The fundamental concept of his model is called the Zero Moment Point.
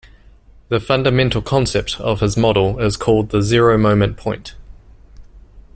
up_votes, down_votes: 2, 1